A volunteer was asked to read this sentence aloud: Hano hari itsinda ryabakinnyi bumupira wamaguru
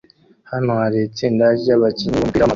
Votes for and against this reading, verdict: 0, 2, rejected